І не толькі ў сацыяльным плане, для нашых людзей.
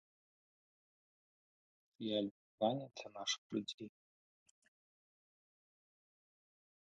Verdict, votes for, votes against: rejected, 0, 2